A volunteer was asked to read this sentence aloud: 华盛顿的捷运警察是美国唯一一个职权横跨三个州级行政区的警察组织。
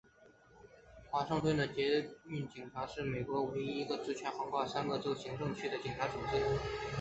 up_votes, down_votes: 2, 0